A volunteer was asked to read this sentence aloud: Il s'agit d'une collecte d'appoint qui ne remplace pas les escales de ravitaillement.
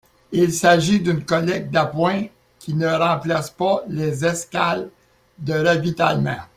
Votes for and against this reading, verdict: 2, 1, accepted